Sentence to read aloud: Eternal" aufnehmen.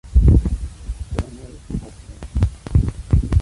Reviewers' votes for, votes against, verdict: 0, 2, rejected